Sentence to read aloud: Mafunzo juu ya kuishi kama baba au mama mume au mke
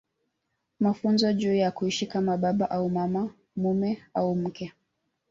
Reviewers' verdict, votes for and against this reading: rejected, 1, 2